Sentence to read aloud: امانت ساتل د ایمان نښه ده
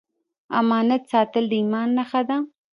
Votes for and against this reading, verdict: 0, 2, rejected